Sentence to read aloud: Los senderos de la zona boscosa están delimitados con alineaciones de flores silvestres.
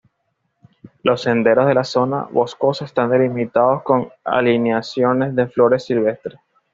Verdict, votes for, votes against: accepted, 2, 0